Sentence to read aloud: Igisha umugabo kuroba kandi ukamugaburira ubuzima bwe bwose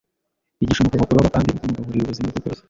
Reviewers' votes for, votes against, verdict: 0, 2, rejected